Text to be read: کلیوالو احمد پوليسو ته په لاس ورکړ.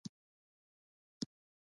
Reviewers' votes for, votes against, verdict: 0, 2, rejected